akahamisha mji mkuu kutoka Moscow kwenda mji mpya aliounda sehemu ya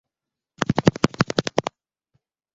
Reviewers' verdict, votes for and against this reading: rejected, 0, 2